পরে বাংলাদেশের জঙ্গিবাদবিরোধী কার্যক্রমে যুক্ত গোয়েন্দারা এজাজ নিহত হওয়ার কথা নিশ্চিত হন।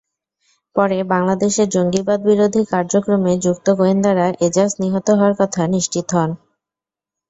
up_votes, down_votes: 2, 0